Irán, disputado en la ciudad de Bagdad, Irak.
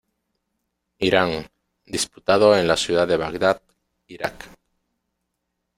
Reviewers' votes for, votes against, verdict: 2, 0, accepted